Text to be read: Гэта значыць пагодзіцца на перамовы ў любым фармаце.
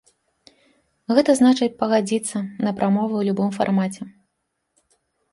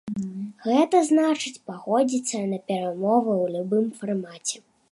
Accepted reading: second